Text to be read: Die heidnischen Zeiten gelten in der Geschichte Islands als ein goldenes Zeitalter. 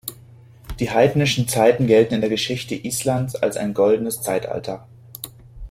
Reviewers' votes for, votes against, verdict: 2, 0, accepted